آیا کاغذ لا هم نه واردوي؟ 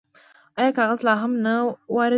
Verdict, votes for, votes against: rejected, 1, 2